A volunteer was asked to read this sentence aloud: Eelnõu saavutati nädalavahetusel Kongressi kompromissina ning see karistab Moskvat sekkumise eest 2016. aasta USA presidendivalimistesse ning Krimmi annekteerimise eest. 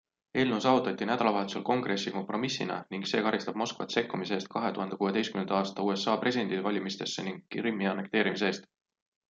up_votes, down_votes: 0, 2